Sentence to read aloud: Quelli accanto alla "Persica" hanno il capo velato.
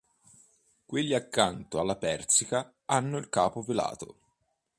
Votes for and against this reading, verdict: 2, 0, accepted